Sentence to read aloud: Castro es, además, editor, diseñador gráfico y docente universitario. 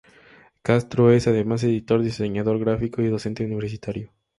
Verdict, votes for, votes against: accepted, 2, 0